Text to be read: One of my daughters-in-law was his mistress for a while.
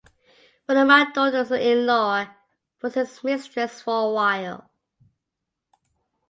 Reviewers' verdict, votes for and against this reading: accepted, 2, 0